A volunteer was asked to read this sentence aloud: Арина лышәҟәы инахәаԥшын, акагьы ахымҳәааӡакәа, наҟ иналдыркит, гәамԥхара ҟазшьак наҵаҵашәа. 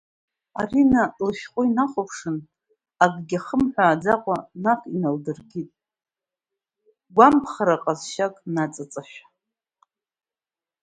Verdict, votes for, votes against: accepted, 2, 0